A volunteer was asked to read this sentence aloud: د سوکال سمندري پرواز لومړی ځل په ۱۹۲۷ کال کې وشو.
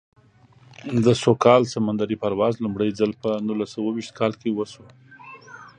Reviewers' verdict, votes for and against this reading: rejected, 0, 2